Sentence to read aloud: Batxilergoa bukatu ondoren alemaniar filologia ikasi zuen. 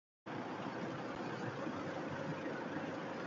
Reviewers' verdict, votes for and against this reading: rejected, 0, 4